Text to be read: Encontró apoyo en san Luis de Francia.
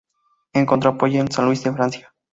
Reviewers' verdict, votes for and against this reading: accepted, 2, 0